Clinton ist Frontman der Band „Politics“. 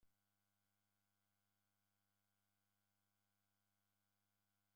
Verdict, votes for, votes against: rejected, 0, 2